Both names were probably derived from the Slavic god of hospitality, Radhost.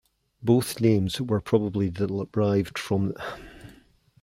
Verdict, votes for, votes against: rejected, 0, 2